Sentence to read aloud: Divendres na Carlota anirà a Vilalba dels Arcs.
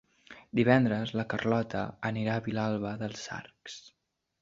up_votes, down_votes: 1, 2